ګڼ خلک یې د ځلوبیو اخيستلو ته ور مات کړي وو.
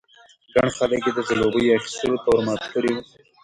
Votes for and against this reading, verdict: 0, 2, rejected